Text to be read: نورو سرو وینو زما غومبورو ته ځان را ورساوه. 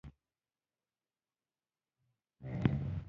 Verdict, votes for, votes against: rejected, 0, 2